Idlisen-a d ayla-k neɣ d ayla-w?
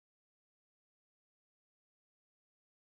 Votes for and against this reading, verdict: 0, 2, rejected